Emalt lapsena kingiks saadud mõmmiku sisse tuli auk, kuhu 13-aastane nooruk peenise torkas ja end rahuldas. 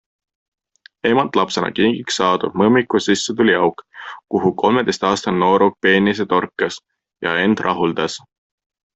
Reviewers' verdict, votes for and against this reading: rejected, 0, 2